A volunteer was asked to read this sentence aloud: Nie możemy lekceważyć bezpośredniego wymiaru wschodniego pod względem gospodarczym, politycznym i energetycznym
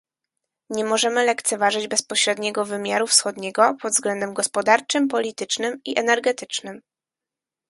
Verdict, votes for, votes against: accepted, 4, 2